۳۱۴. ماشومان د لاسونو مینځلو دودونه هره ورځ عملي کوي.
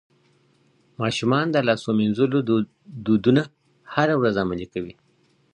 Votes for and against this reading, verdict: 0, 2, rejected